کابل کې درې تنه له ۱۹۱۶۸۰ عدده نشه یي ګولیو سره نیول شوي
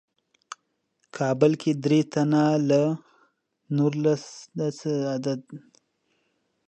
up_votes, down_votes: 0, 2